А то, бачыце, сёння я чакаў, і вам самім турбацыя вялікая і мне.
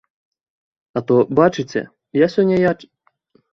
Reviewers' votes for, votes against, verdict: 0, 2, rejected